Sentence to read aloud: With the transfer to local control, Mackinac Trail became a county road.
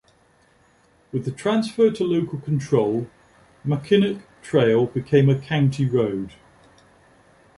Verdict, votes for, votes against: accepted, 2, 0